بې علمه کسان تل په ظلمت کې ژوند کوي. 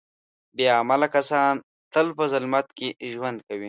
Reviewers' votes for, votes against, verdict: 0, 2, rejected